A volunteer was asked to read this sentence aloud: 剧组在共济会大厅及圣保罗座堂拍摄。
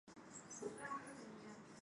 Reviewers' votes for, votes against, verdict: 0, 2, rejected